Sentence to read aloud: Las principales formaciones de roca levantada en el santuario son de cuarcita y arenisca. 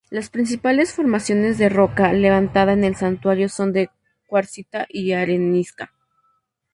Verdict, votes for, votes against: rejected, 2, 2